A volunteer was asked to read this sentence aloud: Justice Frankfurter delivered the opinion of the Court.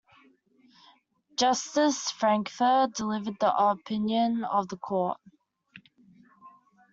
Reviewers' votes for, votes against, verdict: 2, 1, accepted